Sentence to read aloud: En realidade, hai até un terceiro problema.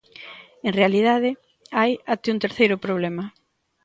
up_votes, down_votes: 2, 0